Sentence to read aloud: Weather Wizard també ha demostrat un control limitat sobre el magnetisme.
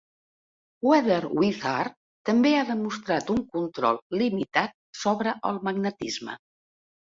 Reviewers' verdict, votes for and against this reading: accepted, 2, 0